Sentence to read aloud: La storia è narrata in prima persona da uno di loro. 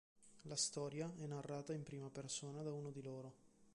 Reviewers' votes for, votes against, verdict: 1, 2, rejected